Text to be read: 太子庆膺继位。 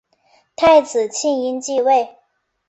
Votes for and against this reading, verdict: 6, 1, accepted